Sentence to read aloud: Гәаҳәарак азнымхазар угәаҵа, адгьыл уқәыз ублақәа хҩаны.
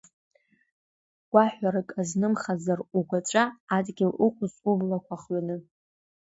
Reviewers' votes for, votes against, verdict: 2, 3, rejected